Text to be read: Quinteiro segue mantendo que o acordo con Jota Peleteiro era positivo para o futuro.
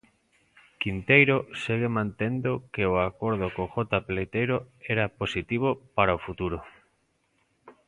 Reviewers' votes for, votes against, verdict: 2, 0, accepted